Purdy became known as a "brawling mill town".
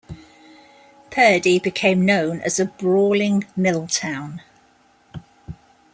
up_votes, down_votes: 2, 0